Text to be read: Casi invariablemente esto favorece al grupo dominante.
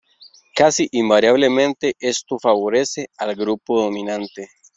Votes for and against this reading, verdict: 2, 0, accepted